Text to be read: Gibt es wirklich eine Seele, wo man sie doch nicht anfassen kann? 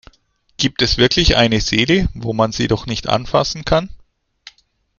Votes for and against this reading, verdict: 2, 0, accepted